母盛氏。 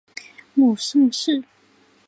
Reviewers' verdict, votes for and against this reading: accepted, 6, 0